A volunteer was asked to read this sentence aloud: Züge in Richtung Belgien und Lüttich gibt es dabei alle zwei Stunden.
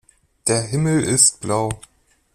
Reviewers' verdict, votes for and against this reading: rejected, 0, 2